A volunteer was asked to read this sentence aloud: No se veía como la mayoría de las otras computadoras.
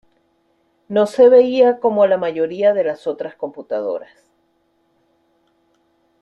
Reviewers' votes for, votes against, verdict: 2, 0, accepted